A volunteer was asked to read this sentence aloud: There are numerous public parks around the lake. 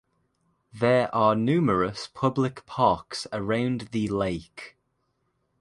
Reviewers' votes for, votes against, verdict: 2, 0, accepted